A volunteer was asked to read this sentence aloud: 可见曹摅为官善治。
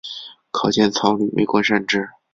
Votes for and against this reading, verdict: 2, 0, accepted